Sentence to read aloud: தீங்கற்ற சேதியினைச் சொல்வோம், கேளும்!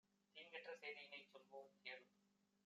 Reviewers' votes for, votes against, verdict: 2, 0, accepted